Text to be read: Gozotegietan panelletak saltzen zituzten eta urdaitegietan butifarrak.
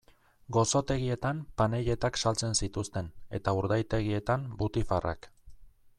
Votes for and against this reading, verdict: 2, 0, accepted